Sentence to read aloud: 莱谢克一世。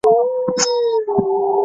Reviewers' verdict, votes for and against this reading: rejected, 0, 6